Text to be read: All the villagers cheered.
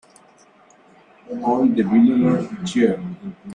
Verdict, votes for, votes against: rejected, 0, 3